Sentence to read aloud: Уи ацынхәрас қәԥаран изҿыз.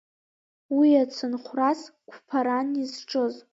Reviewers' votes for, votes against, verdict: 2, 1, accepted